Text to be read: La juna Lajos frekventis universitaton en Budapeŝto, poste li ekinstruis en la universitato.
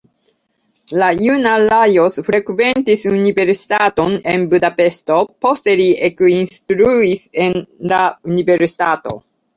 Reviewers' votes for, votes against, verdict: 0, 2, rejected